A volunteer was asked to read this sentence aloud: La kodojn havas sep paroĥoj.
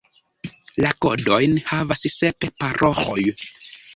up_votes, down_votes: 2, 0